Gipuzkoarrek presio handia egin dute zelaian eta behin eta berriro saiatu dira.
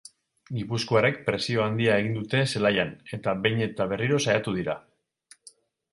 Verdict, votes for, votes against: accepted, 4, 0